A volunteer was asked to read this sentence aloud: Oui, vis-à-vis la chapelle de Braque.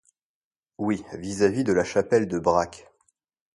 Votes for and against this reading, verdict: 1, 2, rejected